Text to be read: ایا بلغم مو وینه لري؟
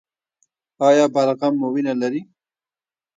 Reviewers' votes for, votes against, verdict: 1, 2, rejected